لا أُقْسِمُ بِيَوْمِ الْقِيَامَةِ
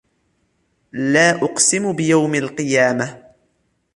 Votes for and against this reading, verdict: 2, 0, accepted